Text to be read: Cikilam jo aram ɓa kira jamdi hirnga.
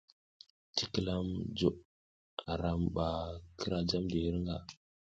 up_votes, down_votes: 1, 2